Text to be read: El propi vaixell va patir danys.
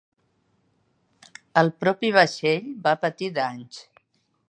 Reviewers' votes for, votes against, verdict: 3, 0, accepted